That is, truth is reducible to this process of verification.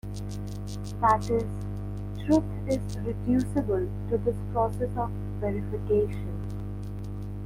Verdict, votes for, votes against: accepted, 2, 0